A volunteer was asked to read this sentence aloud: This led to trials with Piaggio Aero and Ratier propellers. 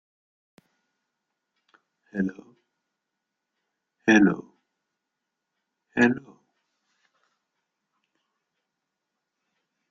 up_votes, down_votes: 0, 2